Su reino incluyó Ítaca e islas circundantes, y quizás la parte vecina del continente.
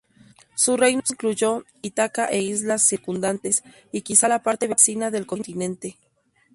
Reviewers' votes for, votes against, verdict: 0, 2, rejected